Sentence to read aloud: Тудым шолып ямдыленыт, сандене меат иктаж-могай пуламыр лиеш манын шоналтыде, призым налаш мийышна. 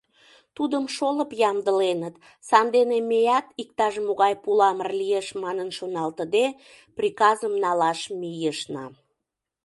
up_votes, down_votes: 0, 2